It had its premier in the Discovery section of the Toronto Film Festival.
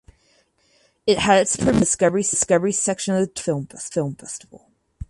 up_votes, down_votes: 0, 4